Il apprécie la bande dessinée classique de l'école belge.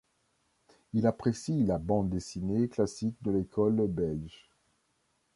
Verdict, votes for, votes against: accepted, 2, 1